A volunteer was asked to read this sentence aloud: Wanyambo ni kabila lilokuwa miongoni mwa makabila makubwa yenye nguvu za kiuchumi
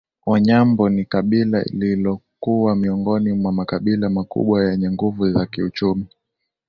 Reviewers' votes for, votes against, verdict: 2, 0, accepted